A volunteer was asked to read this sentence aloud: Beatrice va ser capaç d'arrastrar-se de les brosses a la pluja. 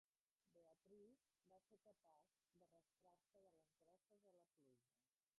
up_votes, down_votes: 0, 2